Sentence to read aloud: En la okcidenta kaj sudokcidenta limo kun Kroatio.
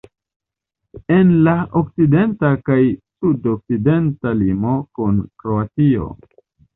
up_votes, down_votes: 2, 0